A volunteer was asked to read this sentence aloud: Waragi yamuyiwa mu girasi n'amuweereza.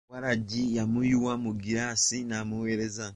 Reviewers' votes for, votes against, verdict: 0, 2, rejected